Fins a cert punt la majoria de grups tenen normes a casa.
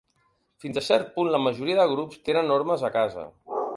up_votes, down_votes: 2, 0